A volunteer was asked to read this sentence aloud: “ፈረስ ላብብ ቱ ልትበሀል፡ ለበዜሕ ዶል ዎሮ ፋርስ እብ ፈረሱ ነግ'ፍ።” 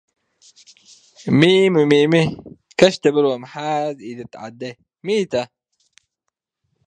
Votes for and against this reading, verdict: 0, 2, rejected